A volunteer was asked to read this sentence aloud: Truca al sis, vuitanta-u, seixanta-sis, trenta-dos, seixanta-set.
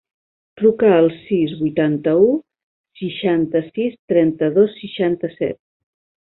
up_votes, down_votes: 3, 0